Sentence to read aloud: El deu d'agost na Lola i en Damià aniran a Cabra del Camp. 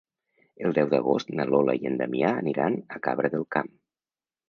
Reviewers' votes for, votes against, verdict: 2, 0, accepted